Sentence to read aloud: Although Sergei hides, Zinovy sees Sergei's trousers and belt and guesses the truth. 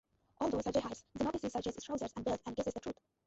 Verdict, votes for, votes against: rejected, 0, 2